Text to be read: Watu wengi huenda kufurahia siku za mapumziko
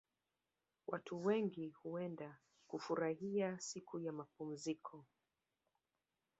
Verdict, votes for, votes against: accepted, 4, 0